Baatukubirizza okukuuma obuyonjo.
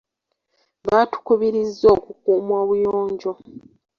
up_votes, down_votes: 3, 0